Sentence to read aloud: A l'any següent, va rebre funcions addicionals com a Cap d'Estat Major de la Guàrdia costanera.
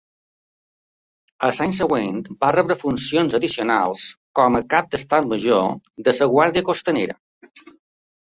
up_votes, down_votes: 1, 2